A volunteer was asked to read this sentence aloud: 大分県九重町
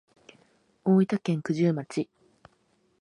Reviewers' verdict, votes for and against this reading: accepted, 2, 0